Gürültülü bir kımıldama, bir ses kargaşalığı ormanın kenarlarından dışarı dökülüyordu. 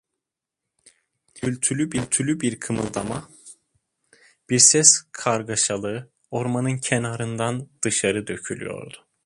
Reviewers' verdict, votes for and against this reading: rejected, 1, 2